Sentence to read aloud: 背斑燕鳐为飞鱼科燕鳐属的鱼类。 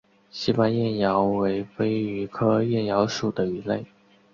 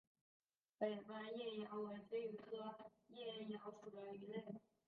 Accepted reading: first